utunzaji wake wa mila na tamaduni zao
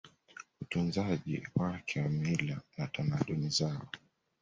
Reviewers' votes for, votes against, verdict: 2, 0, accepted